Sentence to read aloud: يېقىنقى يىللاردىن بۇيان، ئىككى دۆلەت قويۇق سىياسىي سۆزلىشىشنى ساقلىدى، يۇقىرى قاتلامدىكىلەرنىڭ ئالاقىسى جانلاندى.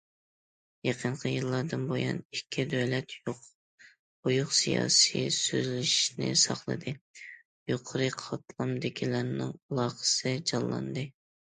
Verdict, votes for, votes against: rejected, 0, 2